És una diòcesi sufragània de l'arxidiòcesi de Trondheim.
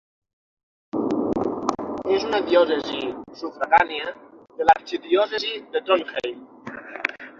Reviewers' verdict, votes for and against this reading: rejected, 0, 6